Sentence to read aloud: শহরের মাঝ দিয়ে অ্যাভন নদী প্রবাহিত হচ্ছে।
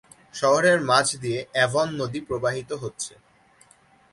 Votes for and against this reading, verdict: 2, 1, accepted